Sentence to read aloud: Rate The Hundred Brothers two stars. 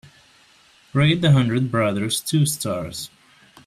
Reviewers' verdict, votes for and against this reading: accepted, 3, 0